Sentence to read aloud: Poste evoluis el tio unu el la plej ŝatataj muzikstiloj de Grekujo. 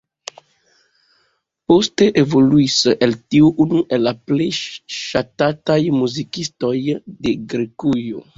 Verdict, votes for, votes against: rejected, 1, 2